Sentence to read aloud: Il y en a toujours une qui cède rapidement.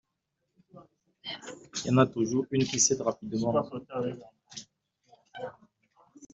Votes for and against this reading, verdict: 1, 2, rejected